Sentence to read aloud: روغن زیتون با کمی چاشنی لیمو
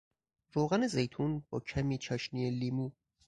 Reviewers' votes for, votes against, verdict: 4, 0, accepted